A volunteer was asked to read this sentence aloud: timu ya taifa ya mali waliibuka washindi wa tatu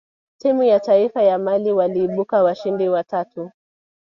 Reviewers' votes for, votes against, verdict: 1, 2, rejected